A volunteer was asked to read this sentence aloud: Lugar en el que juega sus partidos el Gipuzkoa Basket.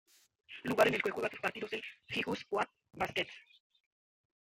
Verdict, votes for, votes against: rejected, 1, 2